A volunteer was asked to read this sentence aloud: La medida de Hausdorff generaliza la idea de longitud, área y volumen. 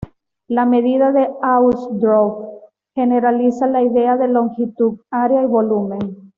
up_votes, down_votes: 2, 0